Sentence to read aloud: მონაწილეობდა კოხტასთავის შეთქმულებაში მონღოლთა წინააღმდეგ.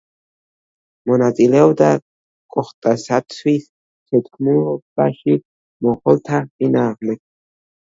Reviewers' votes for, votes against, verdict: 1, 2, rejected